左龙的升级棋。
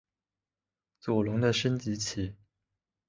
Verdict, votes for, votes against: accepted, 2, 1